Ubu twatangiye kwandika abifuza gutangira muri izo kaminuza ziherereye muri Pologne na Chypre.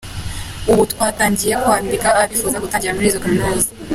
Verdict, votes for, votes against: rejected, 0, 2